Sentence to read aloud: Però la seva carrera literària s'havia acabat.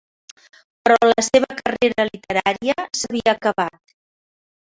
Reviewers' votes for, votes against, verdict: 0, 2, rejected